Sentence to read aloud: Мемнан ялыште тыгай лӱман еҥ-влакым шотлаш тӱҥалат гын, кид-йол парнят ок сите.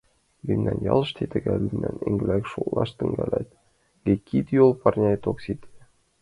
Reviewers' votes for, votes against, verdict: 0, 2, rejected